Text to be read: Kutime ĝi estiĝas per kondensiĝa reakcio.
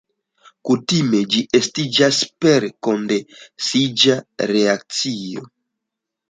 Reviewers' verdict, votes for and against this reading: accepted, 2, 1